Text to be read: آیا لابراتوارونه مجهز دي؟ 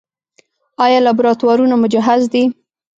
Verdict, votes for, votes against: rejected, 1, 2